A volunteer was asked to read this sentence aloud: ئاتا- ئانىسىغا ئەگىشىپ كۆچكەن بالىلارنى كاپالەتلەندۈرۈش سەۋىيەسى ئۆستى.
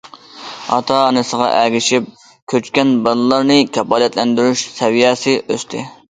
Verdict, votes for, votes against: accepted, 2, 0